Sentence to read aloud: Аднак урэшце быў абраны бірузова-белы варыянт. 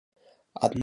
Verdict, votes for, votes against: rejected, 1, 2